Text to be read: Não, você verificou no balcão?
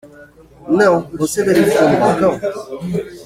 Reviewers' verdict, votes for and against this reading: rejected, 1, 2